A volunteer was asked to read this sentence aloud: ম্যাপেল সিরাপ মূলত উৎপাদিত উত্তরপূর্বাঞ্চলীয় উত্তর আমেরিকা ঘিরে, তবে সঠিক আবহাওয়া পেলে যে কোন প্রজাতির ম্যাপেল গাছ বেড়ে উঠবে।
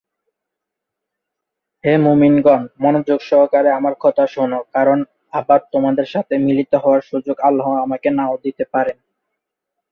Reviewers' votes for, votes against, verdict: 0, 2, rejected